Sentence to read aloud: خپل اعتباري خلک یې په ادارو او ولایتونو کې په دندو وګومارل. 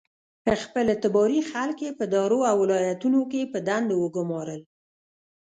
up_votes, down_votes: 1, 2